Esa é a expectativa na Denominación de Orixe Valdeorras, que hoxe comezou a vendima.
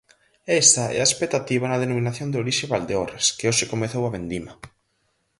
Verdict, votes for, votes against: accepted, 4, 0